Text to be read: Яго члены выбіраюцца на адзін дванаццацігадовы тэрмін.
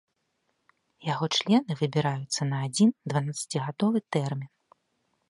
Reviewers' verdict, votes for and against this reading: accepted, 3, 0